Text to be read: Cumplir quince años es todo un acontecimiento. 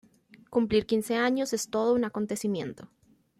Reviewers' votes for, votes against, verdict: 2, 0, accepted